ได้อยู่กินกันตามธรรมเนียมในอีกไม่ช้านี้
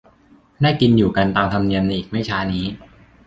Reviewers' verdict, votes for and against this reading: rejected, 0, 2